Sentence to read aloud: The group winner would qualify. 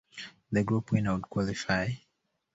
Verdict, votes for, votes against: accepted, 3, 0